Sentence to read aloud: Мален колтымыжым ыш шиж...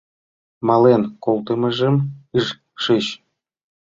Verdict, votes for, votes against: accepted, 2, 0